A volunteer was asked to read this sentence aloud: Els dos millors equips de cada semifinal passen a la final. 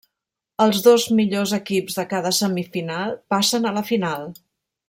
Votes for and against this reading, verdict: 3, 0, accepted